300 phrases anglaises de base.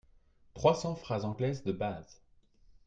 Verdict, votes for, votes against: rejected, 0, 2